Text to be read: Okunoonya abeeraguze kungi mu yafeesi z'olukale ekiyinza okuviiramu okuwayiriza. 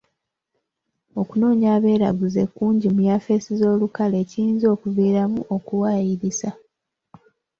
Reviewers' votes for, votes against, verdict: 2, 0, accepted